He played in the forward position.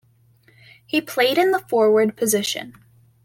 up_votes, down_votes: 2, 0